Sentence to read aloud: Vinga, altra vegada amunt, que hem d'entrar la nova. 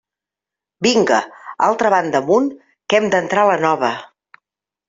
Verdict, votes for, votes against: rejected, 0, 2